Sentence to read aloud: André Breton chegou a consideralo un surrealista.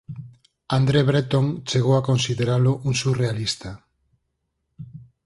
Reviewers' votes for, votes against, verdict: 4, 0, accepted